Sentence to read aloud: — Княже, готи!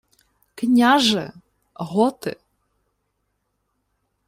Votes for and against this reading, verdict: 2, 0, accepted